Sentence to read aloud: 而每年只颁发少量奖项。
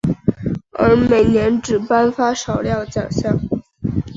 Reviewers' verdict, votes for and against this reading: accepted, 2, 0